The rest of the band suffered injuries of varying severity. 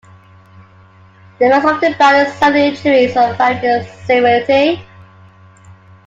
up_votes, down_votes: 0, 2